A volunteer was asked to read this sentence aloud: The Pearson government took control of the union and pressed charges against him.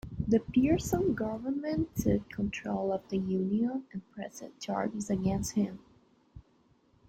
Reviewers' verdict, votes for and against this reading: rejected, 1, 2